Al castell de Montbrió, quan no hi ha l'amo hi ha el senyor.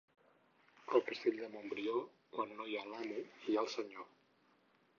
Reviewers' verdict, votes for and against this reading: accepted, 4, 0